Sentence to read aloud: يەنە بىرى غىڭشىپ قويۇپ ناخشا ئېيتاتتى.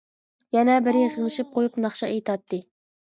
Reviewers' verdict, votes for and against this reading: accepted, 2, 0